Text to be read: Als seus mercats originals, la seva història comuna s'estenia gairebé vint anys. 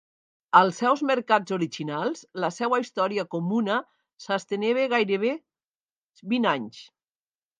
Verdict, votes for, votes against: rejected, 0, 2